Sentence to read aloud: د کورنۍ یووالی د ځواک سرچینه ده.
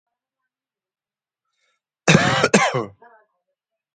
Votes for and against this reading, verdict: 0, 3, rejected